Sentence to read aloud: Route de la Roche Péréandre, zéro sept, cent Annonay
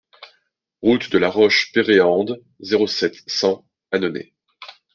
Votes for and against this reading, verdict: 0, 2, rejected